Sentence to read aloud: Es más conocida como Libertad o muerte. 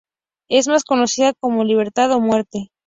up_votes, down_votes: 2, 0